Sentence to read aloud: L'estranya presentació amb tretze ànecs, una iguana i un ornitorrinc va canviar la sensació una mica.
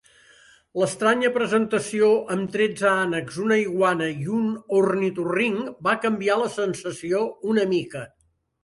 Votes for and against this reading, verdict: 3, 0, accepted